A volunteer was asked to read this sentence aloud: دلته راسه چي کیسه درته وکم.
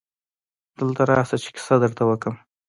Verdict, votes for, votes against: accepted, 2, 0